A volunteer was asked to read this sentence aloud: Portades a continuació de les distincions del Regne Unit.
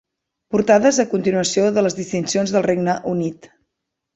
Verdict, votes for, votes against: accepted, 2, 0